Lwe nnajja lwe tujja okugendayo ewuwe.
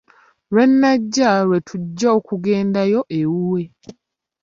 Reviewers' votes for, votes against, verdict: 3, 0, accepted